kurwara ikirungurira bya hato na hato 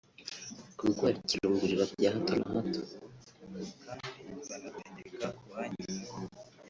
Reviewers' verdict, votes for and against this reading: rejected, 0, 2